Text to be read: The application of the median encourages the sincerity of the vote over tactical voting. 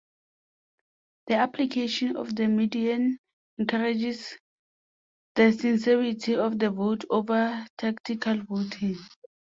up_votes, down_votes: 3, 0